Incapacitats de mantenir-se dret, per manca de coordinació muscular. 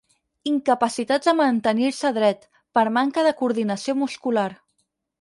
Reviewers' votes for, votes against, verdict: 4, 2, accepted